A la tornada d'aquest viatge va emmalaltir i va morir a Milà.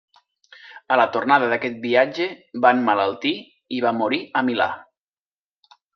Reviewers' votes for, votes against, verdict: 2, 0, accepted